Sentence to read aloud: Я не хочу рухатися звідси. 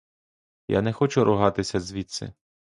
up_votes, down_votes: 0, 2